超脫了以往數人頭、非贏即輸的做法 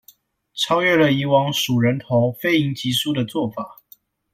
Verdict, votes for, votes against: rejected, 0, 2